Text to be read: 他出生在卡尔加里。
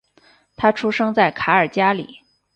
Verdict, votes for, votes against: accepted, 4, 0